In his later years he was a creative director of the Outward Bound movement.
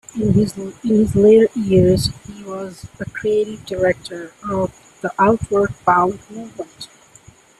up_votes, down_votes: 1, 2